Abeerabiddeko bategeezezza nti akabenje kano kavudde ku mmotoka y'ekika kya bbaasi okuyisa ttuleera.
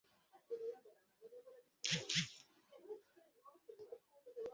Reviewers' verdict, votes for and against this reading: rejected, 0, 2